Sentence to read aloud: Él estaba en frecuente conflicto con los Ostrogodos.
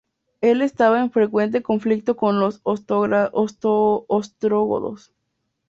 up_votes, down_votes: 0, 2